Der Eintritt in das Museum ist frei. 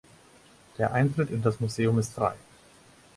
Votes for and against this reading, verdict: 4, 0, accepted